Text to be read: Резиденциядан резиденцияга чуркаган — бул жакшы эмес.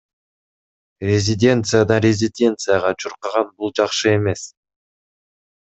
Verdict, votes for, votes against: rejected, 1, 2